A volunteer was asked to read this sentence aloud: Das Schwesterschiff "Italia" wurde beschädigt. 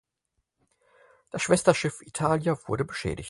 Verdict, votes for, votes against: accepted, 4, 0